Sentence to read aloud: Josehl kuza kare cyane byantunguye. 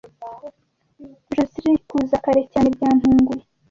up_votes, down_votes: 0, 2